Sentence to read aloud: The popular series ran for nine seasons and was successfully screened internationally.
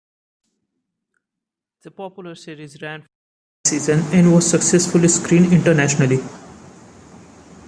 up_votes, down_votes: 1, 2